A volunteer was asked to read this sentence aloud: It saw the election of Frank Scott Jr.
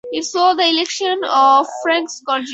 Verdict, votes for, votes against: rejected, 2, 4